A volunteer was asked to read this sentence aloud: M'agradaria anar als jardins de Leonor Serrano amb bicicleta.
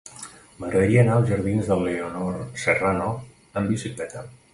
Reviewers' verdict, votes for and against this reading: rejected, 1, 2